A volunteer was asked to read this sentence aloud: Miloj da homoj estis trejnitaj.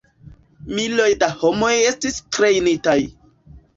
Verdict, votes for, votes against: accepted, 2, 0